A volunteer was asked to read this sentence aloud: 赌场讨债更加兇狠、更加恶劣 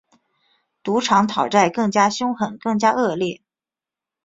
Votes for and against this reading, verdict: 2, 0, accepted